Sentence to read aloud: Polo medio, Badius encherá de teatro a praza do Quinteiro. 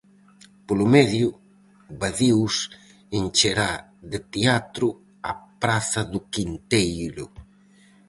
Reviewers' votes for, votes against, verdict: 2, 2, rejected